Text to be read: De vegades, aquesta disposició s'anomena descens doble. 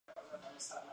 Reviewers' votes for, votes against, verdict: 1, 3, rejected